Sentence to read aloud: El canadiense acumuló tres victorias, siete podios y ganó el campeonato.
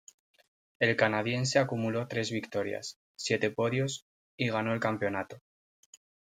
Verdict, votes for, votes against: accepted, 2, 0